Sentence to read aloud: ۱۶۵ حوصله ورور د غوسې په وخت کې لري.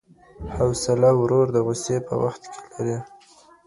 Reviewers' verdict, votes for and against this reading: rejected, 0, 2